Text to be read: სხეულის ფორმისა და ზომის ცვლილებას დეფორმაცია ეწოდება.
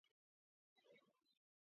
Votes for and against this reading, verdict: 0, 2, rejected